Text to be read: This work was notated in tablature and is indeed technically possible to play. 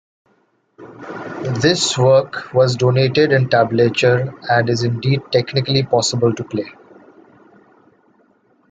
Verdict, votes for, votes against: rejected, 0, 2